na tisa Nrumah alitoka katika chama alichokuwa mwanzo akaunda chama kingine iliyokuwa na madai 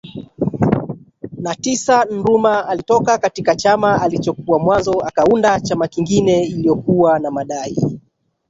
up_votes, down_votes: 2, 0